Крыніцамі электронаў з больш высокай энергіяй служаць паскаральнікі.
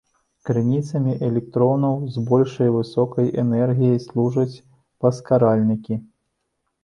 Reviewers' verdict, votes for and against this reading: rejected, 1, 2